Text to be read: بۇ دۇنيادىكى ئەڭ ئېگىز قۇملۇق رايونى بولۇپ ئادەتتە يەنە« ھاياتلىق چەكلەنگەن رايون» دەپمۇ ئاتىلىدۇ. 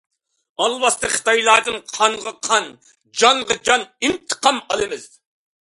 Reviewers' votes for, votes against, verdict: 0, 2, rejected